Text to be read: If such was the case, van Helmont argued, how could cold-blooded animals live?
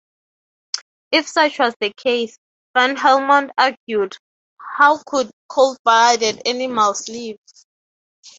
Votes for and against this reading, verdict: 3, 3, rejected